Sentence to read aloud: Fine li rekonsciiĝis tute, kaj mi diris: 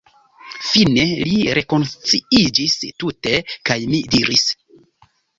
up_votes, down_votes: 2, 1